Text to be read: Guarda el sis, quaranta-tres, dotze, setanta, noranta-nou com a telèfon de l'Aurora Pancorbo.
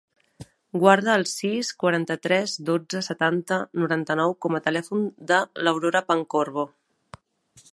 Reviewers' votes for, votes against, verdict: 2, 0, accepted